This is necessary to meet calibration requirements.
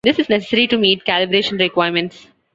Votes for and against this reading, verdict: 1, 2, rejected